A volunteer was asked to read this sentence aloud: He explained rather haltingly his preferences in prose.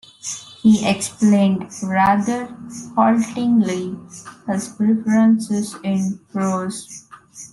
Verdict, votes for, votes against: accepted, 2, 0